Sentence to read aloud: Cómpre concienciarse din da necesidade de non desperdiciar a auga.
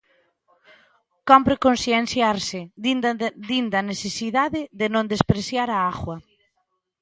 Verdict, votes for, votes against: rejected, 0, 2